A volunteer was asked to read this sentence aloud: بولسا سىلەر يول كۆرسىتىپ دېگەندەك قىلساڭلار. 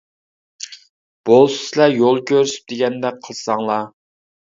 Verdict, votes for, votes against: rejected, 0, 2